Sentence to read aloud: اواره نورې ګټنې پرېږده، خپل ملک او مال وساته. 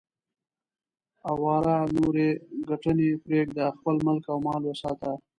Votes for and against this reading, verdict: 2, 0, accepted